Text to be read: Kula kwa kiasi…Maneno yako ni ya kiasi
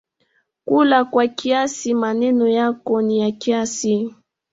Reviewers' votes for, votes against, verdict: 2, 0, accepted